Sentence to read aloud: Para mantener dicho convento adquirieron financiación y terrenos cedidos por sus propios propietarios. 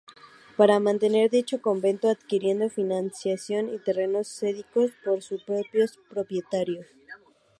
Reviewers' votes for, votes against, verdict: 0, 2, rejected